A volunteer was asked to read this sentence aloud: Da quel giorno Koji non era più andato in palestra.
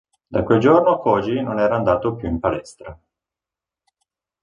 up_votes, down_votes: 0, 3